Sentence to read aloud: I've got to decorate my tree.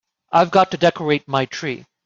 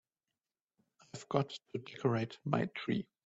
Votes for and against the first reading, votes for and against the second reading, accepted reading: 2, 0, 1, 2, first